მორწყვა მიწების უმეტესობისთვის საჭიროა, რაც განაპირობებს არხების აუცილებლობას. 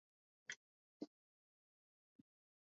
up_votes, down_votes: 0, 2